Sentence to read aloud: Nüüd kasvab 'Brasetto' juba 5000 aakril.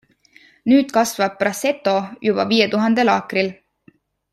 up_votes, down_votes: 0, 2